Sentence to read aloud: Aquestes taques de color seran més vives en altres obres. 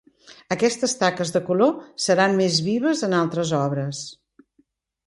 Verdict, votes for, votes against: accepted, 2, 0